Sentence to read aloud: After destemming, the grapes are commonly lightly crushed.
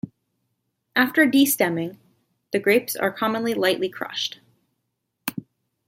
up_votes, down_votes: 2, 0